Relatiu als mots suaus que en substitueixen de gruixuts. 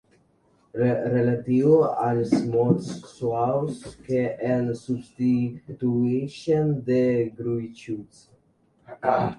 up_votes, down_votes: 0, 2